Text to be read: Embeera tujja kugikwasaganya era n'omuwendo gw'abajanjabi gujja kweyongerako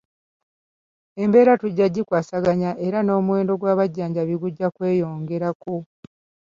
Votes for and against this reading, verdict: 2, 1, accepted